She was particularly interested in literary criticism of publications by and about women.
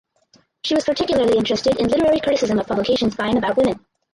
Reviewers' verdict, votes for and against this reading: rejected, 2, 2